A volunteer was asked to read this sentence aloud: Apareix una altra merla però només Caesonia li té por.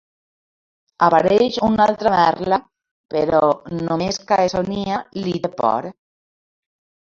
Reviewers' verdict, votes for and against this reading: rejected, 0, 2